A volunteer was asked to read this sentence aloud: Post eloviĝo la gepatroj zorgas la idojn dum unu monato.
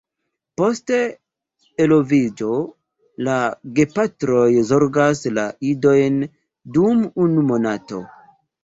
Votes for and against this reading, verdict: 0, 2, rejected